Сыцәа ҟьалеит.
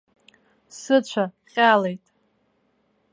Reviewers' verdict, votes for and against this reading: rejected, 1, 2